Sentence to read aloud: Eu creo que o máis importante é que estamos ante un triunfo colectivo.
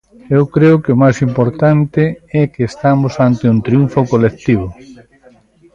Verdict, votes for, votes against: accepted, 2, 0